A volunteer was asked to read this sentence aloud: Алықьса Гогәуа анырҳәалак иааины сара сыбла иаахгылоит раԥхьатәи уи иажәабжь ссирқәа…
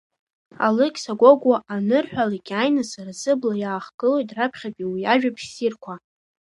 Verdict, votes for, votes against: accepted, 2, 0